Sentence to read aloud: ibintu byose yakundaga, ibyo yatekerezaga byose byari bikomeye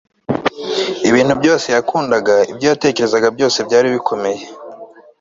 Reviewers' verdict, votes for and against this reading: accepted, 2, 0